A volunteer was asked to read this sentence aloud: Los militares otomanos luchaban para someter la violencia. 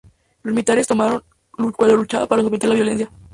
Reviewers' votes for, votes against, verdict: 0, 2, rejected